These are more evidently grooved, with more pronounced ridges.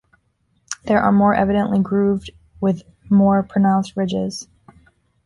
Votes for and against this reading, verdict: 0, 2, rejected